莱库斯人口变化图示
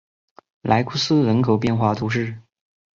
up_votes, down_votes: 2, 0